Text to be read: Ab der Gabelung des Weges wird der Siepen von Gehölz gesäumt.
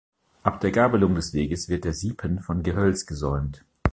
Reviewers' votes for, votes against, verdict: 2, 0, accepted